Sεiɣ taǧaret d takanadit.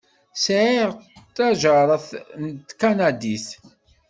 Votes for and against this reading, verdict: 0, 2, rejected